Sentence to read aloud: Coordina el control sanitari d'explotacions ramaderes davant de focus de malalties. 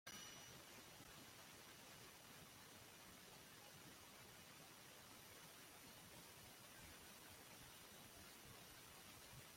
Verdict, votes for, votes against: rejected, 0, 2